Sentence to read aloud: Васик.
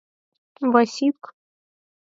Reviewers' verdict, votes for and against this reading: accepted, 4, 0